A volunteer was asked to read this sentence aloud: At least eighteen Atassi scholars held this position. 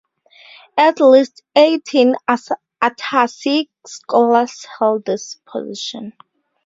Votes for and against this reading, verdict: 4, 0, accepted